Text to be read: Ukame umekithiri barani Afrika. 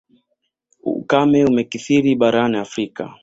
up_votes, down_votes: 2, 1